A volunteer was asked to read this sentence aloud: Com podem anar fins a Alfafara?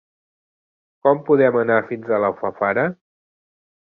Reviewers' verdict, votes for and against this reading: rejected, 1, 2